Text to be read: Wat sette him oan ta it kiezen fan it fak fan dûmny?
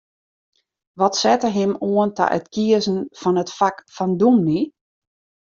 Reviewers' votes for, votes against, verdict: 2, 0, accepted